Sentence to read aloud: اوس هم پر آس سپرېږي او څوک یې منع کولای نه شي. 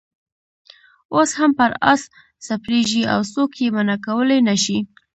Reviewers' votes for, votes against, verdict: 2, 0, accepted